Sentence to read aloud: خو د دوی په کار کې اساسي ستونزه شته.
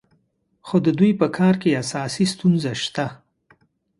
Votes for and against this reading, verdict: 2, 0, accepted